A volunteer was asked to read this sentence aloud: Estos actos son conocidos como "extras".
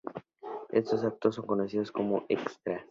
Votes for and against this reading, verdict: 2, 0, accepted